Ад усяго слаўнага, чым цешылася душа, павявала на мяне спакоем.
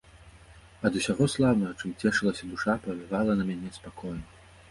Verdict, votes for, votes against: accepted, 2, 0